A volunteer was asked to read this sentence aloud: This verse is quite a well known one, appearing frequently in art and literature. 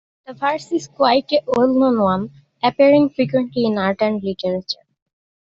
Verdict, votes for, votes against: rejected, 1, 2